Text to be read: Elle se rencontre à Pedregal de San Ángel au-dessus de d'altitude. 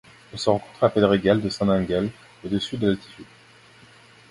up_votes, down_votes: 0, 2